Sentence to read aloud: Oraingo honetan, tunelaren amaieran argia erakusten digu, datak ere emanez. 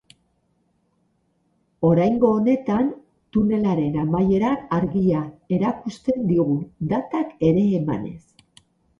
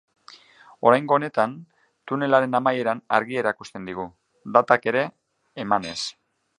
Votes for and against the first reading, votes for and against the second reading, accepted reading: 0, 2, 2, 0, second